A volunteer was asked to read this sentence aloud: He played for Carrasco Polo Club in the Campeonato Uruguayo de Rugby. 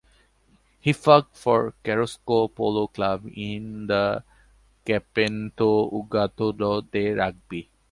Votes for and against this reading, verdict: 0, 2, rejected